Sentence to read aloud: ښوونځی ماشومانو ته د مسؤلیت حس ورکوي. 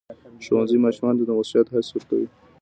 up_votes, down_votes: 2, 0